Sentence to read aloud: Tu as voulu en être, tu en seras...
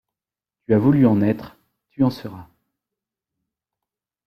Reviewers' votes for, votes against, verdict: 2, 0, accepted